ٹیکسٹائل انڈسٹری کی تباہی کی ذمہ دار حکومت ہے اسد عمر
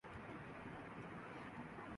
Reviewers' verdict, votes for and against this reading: rejected, 0, 2